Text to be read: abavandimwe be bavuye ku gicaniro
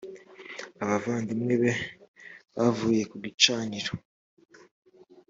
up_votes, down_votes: 3, 0